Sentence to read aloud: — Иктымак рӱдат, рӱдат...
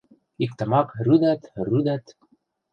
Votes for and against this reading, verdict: 0, 2, rejected